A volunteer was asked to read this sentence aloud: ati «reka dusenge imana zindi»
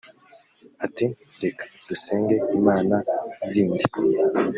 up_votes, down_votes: 2, 0